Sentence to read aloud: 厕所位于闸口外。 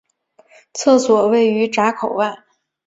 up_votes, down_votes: 4, 0